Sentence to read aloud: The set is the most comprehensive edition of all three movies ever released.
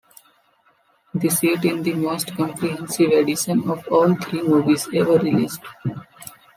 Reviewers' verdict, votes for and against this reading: rejected, 0, 2